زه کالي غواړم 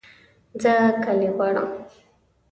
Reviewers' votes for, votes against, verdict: 2, 0, accepted